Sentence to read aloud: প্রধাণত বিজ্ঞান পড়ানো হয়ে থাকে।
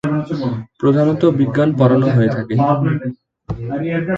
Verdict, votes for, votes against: accepted, 2, 1